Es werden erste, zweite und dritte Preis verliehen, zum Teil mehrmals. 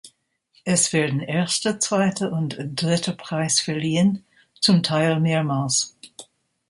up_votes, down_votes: 2, 0